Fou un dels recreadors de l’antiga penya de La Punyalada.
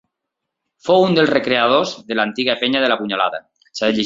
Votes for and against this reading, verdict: 1, 2, rejected